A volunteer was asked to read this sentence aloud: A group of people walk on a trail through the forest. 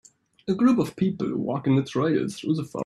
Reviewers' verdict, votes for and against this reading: rejected, 0, 2